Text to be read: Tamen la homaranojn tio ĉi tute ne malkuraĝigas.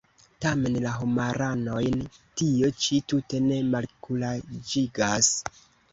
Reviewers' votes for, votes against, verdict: 2, 0, accepted